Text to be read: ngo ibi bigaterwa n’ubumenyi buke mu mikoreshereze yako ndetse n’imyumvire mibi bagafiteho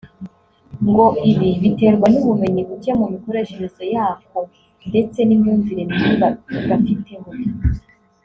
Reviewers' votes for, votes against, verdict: 0, 2, rejected